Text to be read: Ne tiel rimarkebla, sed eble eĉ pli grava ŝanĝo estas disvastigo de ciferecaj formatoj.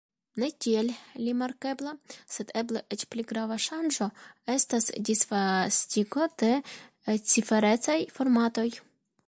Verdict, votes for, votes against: accepted, 2, 0